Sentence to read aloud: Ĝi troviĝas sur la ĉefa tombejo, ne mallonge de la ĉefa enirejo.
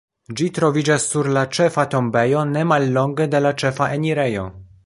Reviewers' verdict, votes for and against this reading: accepted, 2, 1